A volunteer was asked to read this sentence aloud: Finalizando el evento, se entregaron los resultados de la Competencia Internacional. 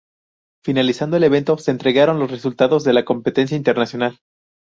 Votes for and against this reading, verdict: 2, 0, accepted